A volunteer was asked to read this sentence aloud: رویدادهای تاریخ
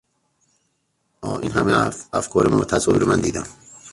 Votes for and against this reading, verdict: 0, 2, rejected